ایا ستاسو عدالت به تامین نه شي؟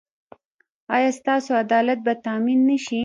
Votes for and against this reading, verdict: 1, 2, rejected